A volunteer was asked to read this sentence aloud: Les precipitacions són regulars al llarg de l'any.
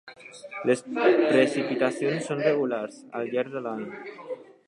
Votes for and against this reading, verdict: 1, 4, rejected